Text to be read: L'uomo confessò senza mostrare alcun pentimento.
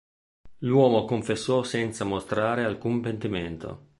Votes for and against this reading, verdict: 2, 0, accepted